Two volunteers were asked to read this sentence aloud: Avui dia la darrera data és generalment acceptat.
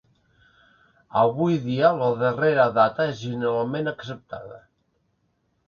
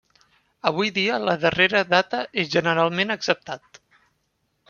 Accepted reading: second